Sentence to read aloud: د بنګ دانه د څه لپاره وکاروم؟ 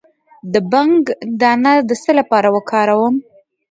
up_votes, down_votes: 1, 2